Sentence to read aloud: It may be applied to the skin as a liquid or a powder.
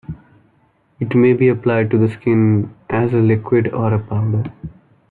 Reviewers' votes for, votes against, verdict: 2, 0, accepted